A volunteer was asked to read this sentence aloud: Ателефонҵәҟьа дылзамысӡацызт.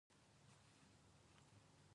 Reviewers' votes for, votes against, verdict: 1, 2, rejected